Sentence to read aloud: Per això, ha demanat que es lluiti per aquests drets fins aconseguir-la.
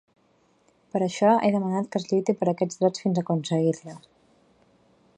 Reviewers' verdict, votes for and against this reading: accepted, 2, 1